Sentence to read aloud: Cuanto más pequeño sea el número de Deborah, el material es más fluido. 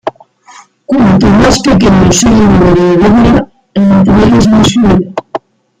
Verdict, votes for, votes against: rejected, 0, 2